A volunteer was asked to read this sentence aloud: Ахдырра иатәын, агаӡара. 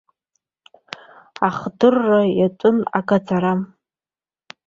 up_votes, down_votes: 2, 0